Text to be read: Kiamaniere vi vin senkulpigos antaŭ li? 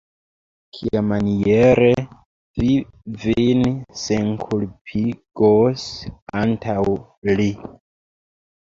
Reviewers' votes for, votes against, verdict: 4, 2, accepted